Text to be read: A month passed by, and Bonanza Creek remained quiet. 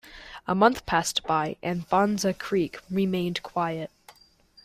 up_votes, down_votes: 1, 2